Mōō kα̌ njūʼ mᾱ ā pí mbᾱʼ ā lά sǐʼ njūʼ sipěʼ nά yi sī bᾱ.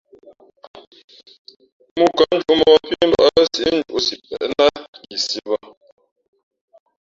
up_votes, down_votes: 0, 2